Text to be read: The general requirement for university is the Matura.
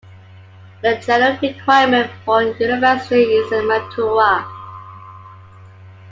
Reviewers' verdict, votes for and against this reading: accepted, 2, 0